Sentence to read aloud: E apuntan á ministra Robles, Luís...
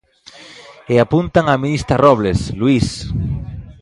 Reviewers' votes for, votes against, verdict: 0, 2, rejected